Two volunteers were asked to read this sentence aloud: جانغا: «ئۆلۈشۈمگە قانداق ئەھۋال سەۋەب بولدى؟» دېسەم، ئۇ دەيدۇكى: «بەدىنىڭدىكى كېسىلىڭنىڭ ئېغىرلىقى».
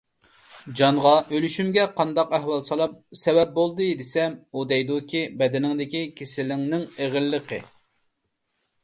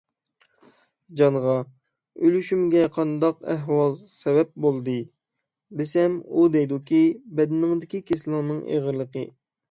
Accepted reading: second